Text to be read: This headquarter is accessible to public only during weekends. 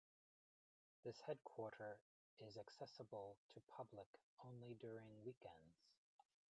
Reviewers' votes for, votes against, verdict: 1, 2, rejected